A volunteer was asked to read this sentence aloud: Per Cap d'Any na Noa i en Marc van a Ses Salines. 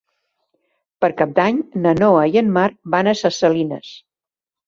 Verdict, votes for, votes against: accepted, 3, 0